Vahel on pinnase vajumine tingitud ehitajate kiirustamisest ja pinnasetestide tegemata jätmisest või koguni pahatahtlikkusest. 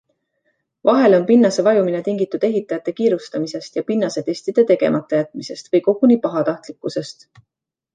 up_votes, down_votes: 2, 0